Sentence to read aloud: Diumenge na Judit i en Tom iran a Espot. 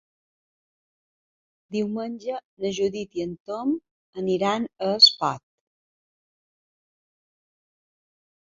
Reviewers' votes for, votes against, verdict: 2, 0, accepted